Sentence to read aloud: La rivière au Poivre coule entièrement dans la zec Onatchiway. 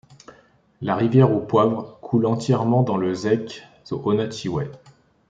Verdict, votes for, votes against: rejected, 0, 2